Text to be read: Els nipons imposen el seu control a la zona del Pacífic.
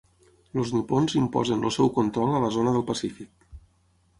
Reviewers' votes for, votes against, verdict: 3, 6, rejected